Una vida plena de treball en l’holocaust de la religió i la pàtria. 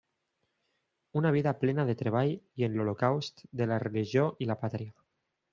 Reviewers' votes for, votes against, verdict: 0, 2, rejected